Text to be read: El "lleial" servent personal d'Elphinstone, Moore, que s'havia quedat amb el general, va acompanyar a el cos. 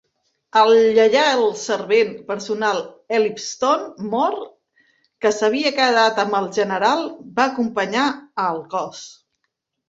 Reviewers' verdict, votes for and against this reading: rejected, 0, 3